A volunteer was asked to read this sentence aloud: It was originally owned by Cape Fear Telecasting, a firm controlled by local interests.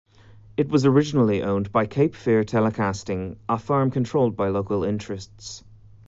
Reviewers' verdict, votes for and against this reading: accepted, 2, 0